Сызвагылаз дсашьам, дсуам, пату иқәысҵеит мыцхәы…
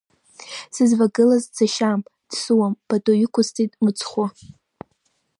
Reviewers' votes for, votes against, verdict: 2, 0, accepted